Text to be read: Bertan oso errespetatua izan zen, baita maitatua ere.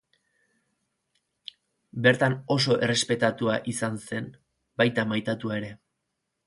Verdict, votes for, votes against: accepted, 4, 0